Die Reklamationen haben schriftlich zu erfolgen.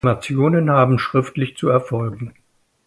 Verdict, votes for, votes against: rejected, 0, 2